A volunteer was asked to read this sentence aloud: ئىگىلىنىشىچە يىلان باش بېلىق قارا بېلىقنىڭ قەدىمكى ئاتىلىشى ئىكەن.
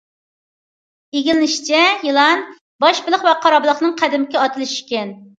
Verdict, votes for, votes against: rejected, 0, 2